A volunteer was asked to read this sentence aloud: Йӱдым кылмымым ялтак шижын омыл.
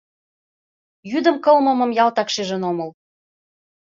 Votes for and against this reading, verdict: 2, 0, accepted